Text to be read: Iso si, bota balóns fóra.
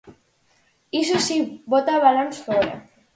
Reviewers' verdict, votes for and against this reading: accepted, 2, 0